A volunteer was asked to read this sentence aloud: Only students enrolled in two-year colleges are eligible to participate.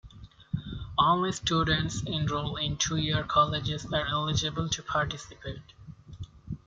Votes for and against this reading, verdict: 1, 2, rejected